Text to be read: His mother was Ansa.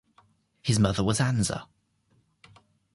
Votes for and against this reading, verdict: 2, 0, accepted